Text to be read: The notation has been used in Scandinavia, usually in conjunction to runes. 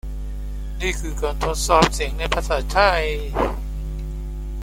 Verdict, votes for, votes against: rejected, 0, 2